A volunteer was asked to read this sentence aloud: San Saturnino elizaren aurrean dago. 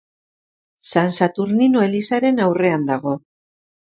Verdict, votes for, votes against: accepted, 2, 0